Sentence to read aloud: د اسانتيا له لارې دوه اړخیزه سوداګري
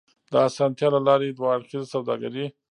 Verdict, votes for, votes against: rejected, 1, 2